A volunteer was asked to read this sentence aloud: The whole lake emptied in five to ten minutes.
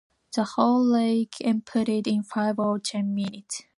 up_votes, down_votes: 1, 2